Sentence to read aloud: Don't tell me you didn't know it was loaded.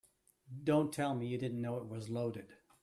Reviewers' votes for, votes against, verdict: 2, 0, accepted